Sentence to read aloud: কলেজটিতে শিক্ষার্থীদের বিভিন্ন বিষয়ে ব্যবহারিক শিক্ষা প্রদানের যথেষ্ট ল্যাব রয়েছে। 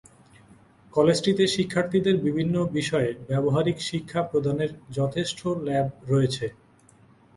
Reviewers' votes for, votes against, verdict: 1, 2, rejected